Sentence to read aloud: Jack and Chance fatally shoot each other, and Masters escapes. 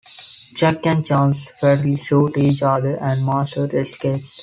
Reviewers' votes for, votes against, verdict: 0, 2, rejected